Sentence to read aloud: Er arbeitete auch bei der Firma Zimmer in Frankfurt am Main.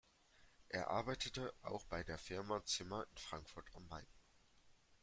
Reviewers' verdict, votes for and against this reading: rejected, 1, 2